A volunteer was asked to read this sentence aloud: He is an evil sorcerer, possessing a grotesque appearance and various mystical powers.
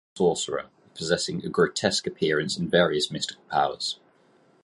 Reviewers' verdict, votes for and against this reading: rejected, 0, 4